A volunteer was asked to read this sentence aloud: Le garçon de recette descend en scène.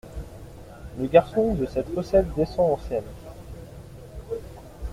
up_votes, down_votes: 0, 2